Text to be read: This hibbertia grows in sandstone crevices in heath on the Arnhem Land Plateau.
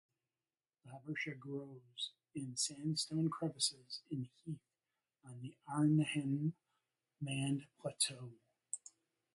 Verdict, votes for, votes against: accepted, 2, 1